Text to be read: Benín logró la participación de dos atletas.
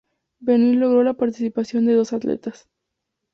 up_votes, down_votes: 2, 0